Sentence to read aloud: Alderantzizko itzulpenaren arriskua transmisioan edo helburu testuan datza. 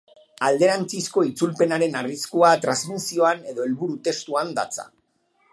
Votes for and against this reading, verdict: 4, 0, accepted